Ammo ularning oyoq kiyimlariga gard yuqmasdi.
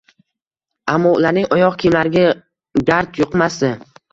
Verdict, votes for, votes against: rejected, 1, 2